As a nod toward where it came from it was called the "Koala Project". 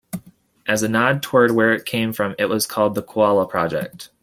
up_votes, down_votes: 2, 0